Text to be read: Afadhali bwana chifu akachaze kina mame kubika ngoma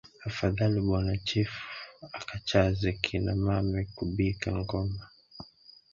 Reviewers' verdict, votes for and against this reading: rejected, 1, 2